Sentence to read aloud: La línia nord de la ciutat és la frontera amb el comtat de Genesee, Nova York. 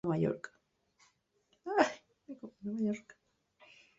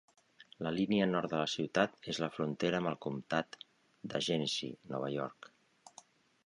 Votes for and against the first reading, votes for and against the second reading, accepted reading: 0, 2, 3, 0, second